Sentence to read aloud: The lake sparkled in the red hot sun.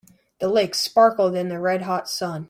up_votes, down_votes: 2, 0